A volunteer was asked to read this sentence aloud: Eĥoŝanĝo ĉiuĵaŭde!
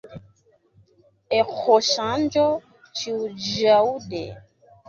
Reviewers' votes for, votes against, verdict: 0, 2, rejected